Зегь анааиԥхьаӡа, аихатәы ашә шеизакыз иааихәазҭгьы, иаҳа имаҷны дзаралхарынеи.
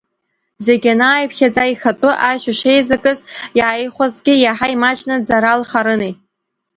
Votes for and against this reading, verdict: 1, 2, rejected